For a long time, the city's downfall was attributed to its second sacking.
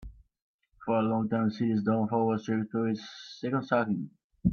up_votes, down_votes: 0, 2